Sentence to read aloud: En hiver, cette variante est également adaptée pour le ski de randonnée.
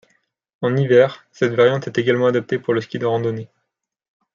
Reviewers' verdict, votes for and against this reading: accepted, 2, 1